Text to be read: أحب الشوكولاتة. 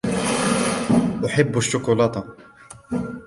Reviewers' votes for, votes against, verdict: 2, 1, accepted